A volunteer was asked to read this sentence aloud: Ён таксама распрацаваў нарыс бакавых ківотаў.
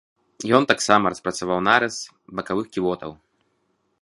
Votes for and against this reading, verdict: 2, 0, accepted